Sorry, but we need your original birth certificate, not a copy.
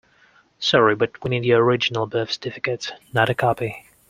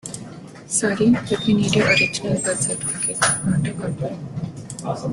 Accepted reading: first